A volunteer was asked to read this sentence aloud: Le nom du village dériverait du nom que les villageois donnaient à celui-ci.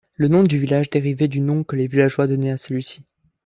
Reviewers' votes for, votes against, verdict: 1, 2, rejected